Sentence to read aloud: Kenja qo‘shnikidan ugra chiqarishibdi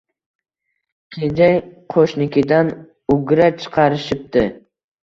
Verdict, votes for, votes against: accepted, 2, 0